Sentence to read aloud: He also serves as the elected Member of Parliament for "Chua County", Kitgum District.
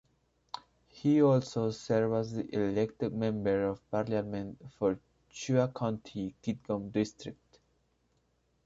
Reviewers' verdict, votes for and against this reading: rejected, 0, 2